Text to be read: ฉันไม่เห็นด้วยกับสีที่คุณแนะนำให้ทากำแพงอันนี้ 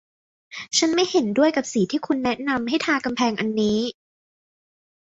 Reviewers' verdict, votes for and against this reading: accepted, 2, 0